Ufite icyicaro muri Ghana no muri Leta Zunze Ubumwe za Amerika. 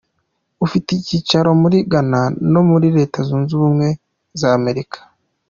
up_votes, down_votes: 2, 0